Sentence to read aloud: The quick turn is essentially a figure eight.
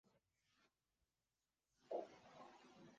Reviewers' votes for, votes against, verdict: 0, 2, rejected